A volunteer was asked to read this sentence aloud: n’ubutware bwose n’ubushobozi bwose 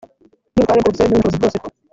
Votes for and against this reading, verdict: 2, 3, rejected